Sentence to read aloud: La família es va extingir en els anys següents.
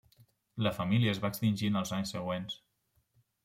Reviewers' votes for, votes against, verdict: 3, 0, accepted